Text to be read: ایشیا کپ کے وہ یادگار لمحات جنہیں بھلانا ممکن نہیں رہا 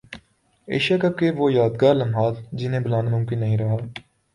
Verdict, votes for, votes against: accepted, 2, 0